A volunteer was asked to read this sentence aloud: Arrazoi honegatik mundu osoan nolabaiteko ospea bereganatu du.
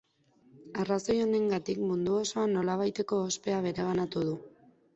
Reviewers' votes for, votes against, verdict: 1, 2, rejected